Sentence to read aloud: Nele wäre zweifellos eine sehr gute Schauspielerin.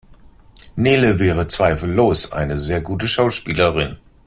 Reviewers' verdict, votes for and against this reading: accepted, 2, 0